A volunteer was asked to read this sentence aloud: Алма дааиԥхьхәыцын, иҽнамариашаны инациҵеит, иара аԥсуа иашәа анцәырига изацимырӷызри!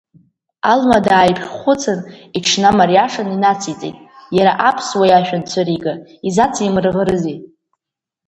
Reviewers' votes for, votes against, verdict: 2, 1, accepted